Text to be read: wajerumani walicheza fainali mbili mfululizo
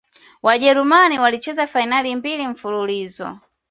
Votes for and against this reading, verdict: 2, 0, accepted